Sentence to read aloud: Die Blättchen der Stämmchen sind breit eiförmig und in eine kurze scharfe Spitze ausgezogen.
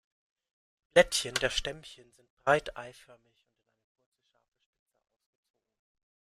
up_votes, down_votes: 0, 2